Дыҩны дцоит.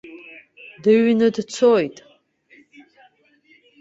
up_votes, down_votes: 2, 0